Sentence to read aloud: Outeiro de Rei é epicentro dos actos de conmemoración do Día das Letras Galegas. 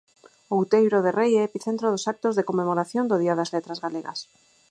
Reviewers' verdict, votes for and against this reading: accepted, 4, 0